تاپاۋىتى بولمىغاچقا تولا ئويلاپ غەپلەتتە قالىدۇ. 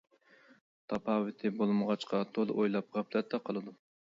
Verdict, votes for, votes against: accepted, 2, 0